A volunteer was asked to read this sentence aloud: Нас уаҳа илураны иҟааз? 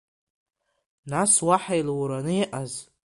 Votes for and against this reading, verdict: 2, 1, accepted